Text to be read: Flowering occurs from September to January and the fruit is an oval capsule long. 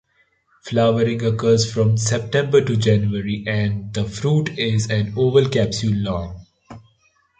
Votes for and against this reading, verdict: 2, 0, accepted